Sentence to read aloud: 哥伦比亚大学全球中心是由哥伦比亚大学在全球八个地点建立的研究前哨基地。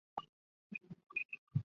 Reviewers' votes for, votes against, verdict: 0, 2, rejected